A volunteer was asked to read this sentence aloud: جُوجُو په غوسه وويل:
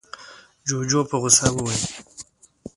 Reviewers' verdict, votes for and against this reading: rejected, 1, 2